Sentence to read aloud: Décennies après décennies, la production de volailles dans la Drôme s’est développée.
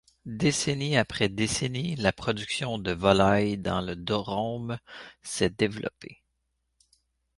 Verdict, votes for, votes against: rejected, 0, 2